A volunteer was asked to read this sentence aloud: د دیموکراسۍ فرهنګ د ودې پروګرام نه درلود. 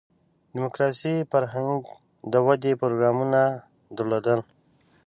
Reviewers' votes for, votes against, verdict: 2, 3, rejected